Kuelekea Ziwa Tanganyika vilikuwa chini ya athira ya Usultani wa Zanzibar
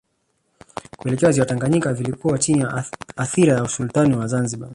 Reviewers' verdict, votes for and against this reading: rejected, 0, 2